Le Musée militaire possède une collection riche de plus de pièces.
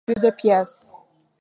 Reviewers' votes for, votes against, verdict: 0, 2, rejected